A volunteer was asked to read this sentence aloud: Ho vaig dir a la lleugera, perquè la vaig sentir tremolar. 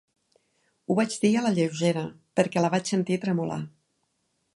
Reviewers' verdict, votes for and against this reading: accepted, 4, 0